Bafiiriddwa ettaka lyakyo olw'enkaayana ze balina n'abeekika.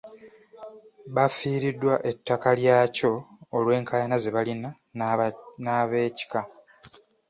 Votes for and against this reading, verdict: 1, 3, rejected